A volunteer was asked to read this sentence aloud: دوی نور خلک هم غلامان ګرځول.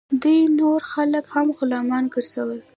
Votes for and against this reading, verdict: 1, 2, rejected